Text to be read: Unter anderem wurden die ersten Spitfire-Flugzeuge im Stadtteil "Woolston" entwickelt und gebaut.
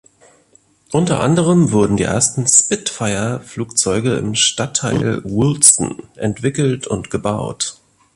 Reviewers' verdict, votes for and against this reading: accepted, 2, 0